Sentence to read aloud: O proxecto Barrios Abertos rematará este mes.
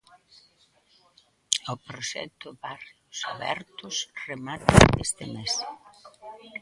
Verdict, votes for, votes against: rejected, 1, 2